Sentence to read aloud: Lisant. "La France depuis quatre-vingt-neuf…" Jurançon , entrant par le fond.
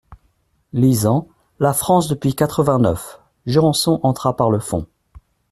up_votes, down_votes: 1, 2